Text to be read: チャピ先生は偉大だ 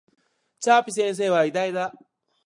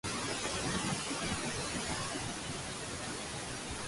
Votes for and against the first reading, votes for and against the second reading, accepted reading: 2, 0, 0, 6, first